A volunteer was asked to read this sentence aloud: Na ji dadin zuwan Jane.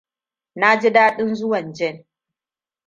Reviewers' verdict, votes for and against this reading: rejected, 1, 2